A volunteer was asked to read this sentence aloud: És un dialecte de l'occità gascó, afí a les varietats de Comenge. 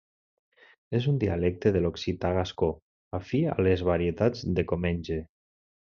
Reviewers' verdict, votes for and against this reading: accepted, 2, 0